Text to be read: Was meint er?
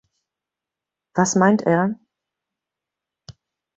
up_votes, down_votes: 2, 0